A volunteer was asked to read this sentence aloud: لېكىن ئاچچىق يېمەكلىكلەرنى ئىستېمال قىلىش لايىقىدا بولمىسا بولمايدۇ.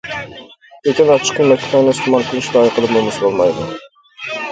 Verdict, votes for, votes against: rejected, 1, 2